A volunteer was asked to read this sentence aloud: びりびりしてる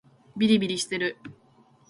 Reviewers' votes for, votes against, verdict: 2, 0, accepted